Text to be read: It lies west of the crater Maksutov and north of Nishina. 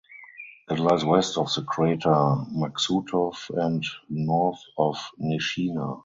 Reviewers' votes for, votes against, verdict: 2, 2, rejected